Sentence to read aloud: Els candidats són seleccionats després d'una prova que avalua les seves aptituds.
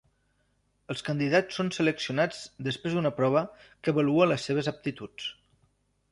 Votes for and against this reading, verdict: 3, 0, accepted